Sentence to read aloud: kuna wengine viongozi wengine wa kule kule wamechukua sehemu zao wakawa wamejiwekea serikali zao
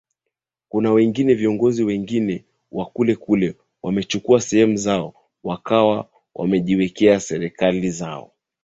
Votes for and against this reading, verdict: 2, 1, accepted